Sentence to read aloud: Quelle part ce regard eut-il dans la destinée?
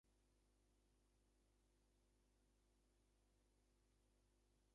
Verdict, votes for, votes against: rejected, 0, 2